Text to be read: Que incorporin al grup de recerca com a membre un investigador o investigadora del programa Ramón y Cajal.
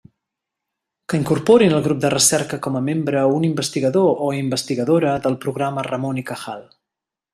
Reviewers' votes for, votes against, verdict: 2, 0, accepted